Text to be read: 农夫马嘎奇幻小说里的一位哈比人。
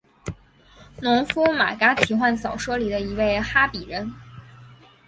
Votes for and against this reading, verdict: 8, 1, accepted